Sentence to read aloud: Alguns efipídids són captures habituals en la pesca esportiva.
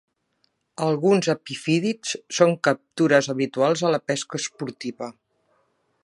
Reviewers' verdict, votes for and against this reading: rejected, 1, 2